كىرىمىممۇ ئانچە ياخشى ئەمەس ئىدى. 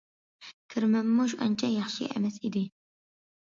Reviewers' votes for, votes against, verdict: 2, 0, accepted